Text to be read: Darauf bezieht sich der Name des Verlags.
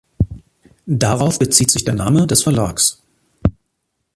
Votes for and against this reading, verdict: 2, 0, accepted